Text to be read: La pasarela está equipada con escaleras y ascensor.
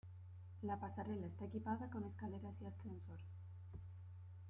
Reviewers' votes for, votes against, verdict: 2, 1, accepted